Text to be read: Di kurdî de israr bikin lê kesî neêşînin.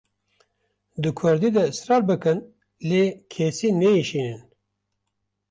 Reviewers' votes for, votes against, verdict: 0, 2, rejected